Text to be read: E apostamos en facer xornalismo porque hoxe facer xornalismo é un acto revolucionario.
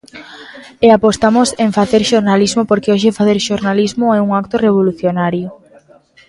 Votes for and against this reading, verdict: 2, 0, accepted